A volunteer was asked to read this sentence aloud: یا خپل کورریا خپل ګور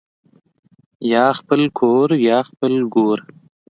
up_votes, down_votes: 2, 0